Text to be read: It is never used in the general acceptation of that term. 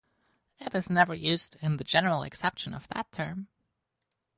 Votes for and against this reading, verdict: 2, 2, rejected